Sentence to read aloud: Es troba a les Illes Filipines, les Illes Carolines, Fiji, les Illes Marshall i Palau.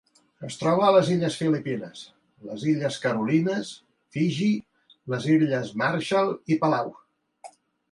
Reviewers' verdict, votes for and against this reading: accepted, 3, 0